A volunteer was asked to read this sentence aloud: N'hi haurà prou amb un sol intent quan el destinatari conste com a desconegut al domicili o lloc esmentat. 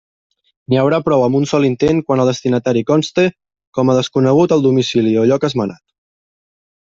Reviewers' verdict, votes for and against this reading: accepted, 2, 0